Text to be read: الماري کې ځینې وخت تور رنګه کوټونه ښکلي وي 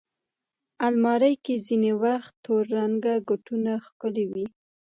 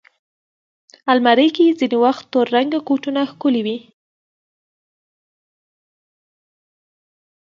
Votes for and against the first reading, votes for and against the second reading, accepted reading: 2, 0, 1, 2, first